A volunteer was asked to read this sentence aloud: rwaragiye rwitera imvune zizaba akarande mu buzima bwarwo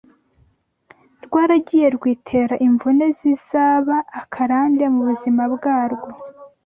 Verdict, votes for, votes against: accepted, 2, 0